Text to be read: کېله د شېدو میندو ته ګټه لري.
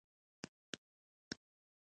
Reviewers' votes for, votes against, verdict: 1, 2, rejected